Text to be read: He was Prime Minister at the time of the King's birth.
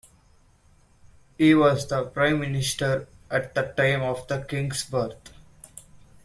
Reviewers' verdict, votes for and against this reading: accepted, 2, 0